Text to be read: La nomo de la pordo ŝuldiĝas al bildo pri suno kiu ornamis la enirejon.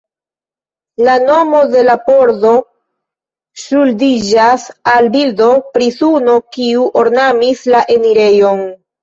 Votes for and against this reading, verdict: 2, 0, accepted